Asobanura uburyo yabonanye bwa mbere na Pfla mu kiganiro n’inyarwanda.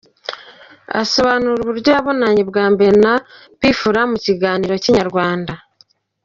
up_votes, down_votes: 0, 2